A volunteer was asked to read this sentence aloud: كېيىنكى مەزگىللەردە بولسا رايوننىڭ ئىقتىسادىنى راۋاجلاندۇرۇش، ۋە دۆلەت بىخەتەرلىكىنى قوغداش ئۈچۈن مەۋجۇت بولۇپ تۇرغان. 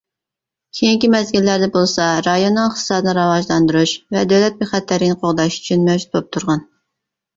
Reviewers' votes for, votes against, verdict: 0, 2, rejected